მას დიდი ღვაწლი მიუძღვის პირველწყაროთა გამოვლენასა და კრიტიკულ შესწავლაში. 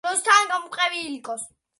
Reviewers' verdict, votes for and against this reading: rejected, 1, 2